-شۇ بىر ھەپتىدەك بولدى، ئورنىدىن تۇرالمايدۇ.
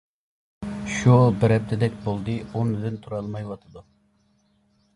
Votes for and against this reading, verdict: 0, 2, rejected